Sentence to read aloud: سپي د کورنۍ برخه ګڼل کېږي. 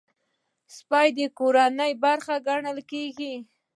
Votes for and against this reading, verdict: 3, 0, accepted